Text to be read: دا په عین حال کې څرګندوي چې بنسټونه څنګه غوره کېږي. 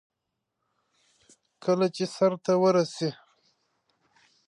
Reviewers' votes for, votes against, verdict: 1, 2, rejected